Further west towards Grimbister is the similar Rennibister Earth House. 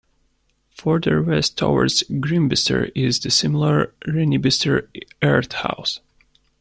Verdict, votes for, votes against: accepted, 2, 1